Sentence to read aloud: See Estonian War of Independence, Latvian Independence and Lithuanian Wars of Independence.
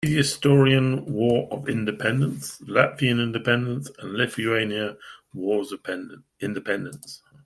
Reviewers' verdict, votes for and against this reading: rejected, 0, 2